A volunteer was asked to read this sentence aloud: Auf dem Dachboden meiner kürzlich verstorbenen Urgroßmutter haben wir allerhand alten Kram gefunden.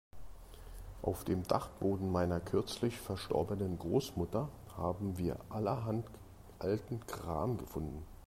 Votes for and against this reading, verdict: 1, 2, rejected